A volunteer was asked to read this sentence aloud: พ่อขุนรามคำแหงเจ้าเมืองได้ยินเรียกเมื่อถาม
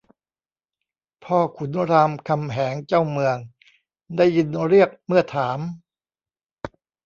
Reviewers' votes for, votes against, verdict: 2, 1, accepted